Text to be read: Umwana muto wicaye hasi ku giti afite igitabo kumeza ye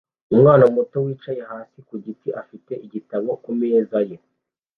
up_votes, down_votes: 2, 0